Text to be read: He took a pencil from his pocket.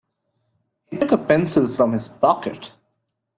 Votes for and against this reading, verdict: 2, 1, accepted